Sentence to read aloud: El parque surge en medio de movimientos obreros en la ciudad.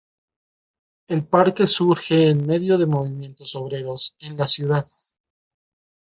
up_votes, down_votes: 2, 0